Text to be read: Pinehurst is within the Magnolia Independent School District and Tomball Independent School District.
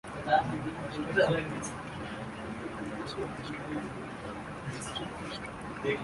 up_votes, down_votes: 0, 2